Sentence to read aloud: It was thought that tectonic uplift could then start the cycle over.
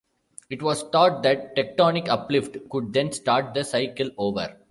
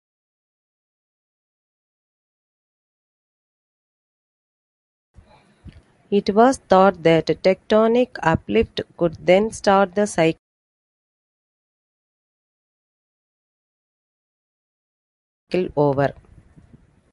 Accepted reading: first